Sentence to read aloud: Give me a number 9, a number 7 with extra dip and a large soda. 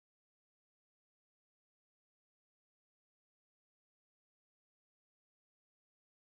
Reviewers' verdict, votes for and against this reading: rejected, 0, 2